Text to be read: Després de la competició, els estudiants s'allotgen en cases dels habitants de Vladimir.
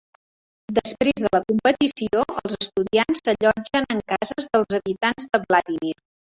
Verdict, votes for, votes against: rejected, 0, 2